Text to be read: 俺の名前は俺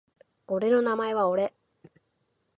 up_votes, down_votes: 4, 0